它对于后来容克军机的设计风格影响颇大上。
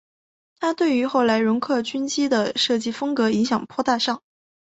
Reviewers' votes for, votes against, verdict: 2, 0, accepted